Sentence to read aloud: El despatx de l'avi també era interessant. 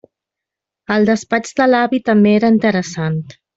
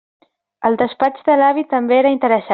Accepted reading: first